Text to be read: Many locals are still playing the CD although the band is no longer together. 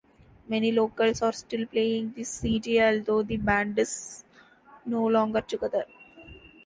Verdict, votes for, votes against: accepted, 2, 1